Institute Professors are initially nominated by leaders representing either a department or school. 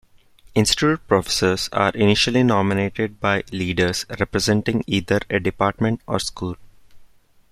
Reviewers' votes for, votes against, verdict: 1, 2, rejected